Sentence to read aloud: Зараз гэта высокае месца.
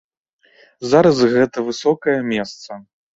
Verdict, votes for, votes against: accepted, 2, 0